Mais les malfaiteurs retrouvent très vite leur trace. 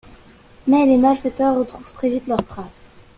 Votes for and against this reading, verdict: 2, 0, accepted